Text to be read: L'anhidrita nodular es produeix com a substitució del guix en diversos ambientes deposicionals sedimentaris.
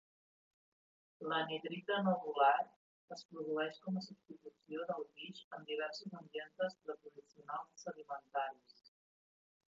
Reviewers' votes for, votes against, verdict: 1, 3, rejected